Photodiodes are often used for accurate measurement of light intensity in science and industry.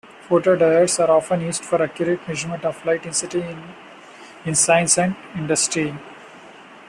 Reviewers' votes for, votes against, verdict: 1, 2, rejected